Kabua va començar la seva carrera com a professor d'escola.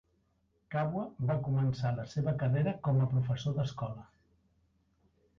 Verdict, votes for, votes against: accepted, 3, 1